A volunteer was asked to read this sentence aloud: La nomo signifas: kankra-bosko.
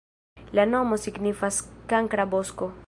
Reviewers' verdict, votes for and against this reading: rejected, 1, 2